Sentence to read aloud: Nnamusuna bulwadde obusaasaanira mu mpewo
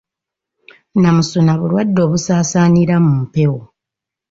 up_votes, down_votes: 4, 0